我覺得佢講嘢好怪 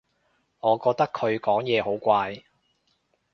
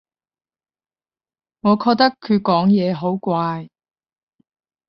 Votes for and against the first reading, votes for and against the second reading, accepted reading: 2, 0, 5, 10, first